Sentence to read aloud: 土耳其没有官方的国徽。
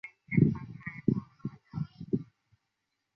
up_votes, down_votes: 0, 3